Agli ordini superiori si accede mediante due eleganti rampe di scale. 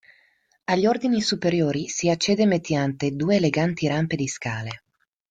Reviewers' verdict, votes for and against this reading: rejected, 1, 2